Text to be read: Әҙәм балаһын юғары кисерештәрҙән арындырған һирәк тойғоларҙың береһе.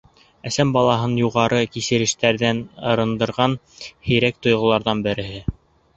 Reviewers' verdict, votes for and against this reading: rejected, 1, 2